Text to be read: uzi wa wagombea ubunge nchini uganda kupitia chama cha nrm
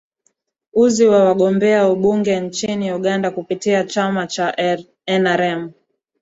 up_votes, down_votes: 1, 2